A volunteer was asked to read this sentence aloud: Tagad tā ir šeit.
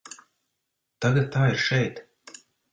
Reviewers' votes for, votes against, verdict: 2, 0, accepted